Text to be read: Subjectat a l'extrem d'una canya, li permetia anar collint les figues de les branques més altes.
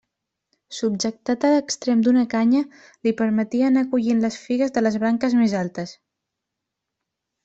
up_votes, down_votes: 2, 0